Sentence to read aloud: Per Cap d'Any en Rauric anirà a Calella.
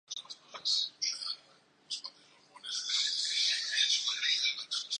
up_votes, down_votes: 0, 2